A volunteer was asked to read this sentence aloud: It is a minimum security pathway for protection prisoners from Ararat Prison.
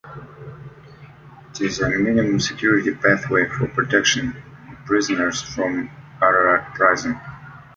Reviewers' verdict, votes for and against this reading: rejected, 0, 2